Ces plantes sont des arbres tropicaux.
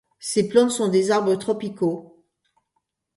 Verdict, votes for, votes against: accepted, 2, 0